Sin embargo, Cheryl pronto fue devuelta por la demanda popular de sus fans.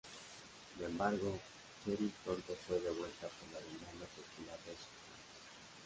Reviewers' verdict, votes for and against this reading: rejected, 0, 2